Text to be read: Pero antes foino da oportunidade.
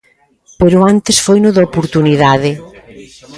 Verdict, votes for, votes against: rejected, 0, 2